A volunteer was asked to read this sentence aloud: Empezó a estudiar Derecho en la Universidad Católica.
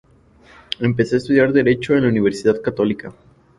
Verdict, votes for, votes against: accepted, 2, 0